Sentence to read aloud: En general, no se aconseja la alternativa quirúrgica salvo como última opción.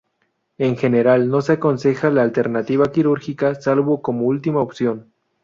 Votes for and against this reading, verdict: 2, 0, accepted